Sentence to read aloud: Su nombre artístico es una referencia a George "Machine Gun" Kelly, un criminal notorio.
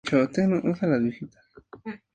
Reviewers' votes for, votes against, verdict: 0, 2, rejected